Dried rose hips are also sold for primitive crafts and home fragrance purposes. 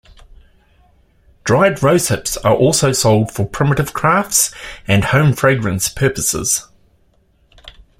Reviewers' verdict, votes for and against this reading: accepted, 2, 0